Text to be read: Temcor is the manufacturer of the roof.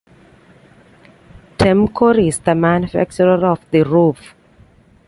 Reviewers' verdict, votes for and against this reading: accepted, 2, 1